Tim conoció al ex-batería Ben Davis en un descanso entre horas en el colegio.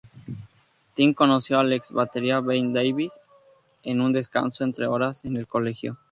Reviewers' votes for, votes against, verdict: 2, 0, accepted